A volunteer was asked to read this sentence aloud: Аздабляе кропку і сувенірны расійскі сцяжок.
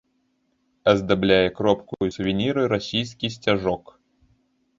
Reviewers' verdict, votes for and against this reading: accepted, 2, 1